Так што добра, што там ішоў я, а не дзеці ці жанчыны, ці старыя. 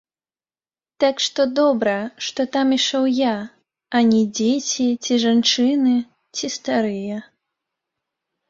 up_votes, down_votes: 1, 2